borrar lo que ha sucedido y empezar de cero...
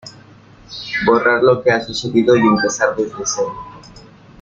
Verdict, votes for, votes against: rejected, 1, 2